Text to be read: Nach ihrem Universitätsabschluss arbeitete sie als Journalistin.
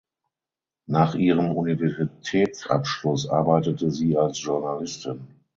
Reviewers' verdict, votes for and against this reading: accepted, 6, 3